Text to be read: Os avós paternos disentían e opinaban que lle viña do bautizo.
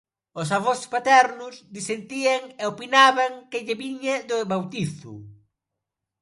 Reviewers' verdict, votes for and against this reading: accepted, 2, 0